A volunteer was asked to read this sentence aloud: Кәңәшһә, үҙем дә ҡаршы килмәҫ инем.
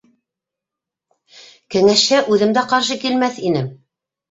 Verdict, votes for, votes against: accepted, 2, 0